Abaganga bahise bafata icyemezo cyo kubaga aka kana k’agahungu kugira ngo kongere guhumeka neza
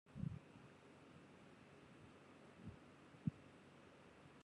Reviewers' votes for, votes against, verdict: 0, 2, rejected